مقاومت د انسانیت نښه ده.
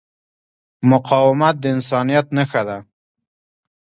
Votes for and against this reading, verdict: 1, 2, rejected